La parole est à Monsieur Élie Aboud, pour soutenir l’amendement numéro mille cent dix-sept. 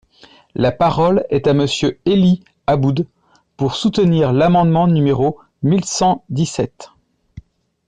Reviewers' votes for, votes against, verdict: 2, 0, accepted